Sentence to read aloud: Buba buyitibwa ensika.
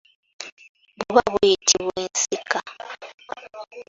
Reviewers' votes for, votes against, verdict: 2, 0, accepted